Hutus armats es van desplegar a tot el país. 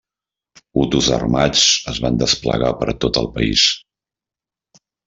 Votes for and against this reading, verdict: 1, 2, rejected